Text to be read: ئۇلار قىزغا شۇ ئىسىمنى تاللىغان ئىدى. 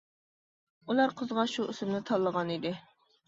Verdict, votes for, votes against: accepted, 2, 0